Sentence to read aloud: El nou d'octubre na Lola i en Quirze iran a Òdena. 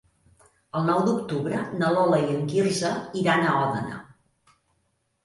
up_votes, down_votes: 3, 0